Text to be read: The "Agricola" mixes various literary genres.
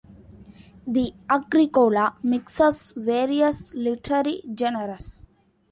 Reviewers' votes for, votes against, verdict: 0, 2, rejected